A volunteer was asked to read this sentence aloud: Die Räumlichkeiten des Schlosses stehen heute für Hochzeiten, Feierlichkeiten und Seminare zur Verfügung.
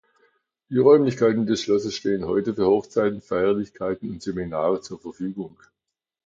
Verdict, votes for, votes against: accepted, 2, 0